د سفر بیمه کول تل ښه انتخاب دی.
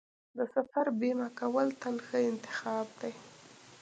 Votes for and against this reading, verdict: 0, 2, rejected